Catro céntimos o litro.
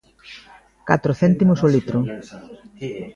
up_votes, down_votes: 0, 2